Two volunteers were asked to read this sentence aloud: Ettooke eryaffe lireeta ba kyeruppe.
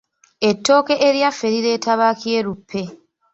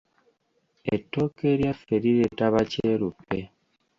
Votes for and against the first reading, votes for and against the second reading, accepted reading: 2, 1, 1, 2, first